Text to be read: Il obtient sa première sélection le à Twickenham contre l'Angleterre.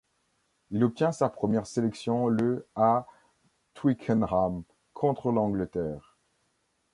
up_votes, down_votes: 1, 2